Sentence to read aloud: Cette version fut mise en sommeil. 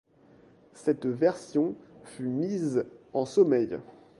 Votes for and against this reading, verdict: 2, 0, accepted